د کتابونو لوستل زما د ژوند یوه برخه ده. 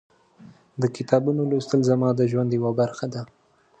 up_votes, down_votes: 2, 0